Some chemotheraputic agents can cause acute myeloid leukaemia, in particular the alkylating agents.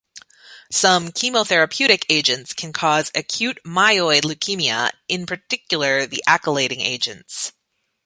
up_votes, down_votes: 1, 2